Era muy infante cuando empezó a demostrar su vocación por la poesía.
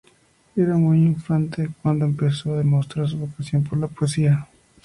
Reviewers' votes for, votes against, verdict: 0, 2, rejected